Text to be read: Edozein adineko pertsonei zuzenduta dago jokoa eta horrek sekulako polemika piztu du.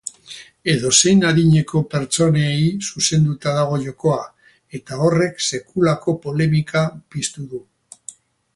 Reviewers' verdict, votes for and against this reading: rejected, 0, 2